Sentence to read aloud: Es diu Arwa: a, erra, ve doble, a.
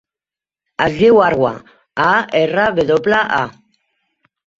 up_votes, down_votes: 3, 0